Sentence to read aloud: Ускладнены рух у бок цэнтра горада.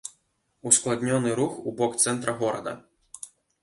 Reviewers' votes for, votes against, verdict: 1, 2, rejected